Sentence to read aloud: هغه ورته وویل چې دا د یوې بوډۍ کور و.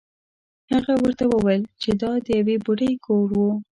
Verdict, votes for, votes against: accepted, 2, 0